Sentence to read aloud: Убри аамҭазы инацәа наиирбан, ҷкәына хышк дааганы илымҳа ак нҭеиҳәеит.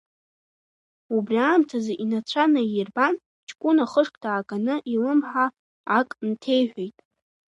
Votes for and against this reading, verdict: 2, 1, accepted